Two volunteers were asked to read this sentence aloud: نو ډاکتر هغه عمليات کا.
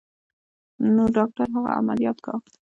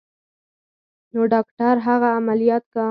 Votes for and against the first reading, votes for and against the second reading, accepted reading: 2, 0, 0, 4, first